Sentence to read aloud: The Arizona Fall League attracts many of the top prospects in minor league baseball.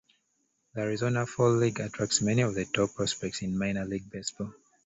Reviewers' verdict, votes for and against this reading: rejected, 0, 2